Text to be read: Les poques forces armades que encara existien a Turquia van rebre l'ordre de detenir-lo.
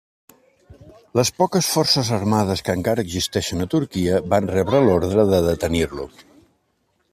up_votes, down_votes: 0, 2